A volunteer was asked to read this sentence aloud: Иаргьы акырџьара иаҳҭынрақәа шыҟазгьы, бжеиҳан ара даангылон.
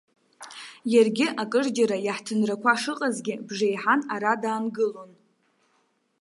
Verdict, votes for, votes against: accepted, 2, 0